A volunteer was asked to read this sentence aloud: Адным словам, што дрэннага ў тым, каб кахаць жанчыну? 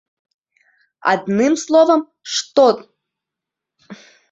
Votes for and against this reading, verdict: 0, 2, rejected